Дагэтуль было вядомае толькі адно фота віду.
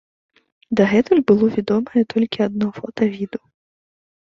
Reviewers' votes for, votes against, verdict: 2, 0, accepted